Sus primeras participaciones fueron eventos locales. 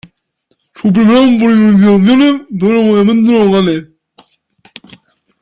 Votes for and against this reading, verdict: 0, 2, rejected